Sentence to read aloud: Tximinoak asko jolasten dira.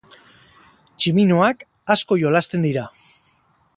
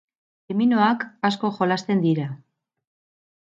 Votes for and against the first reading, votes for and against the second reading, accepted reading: 2, 0, 0, 4, first